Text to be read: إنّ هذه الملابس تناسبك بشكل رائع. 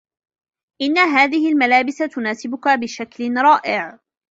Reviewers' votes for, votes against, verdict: 1, 2, rejected